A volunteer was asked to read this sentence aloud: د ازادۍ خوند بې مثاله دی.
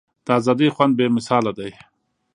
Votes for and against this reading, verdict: 2, 0, accepted